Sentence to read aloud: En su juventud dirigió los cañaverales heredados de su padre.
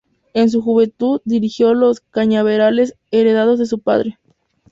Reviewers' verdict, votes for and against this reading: accepted, 2, 0